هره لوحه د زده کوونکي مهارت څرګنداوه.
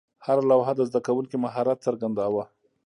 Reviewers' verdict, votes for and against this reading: accepted, 2, 0